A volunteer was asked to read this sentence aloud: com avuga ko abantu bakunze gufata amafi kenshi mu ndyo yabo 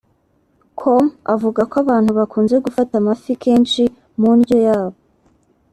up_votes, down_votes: 2, 0